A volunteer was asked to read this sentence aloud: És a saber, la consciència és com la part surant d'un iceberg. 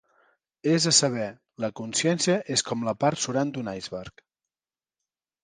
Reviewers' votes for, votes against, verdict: 2, 1, accepted